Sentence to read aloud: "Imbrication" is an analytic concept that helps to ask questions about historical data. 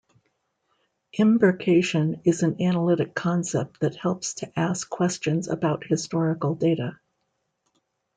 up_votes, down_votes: 2, 0